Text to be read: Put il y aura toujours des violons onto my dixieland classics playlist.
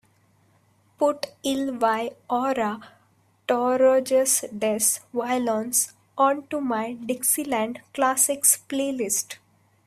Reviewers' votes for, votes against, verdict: 1, 3, rejected